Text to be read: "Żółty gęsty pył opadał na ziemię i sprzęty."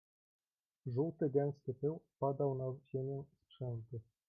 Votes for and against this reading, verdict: 1, 2, rejected